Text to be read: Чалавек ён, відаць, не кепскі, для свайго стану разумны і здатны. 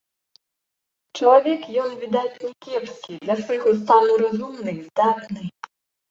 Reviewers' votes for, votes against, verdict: 1, 2, rejected